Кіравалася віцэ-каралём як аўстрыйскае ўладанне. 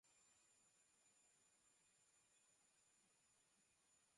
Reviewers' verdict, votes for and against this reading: rejected, 0, 3